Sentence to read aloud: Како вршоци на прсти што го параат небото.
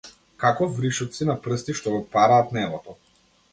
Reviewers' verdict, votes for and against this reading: rejected, 0, 2